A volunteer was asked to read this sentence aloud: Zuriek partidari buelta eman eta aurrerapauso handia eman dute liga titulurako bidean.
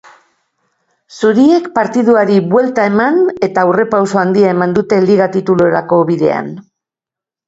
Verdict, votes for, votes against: rejected, 1, 2